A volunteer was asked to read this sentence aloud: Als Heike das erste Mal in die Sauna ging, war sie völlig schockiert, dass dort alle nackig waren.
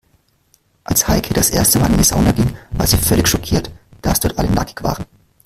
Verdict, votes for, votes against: rejected, 1, 2